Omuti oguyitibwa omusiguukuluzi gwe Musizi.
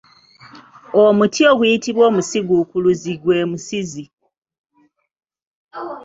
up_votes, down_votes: 2, 0